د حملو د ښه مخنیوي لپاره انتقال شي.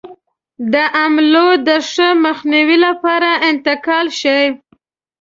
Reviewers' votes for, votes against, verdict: 2, 0, accepted